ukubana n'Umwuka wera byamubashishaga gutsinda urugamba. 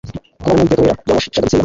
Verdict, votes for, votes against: rejected, 0, 2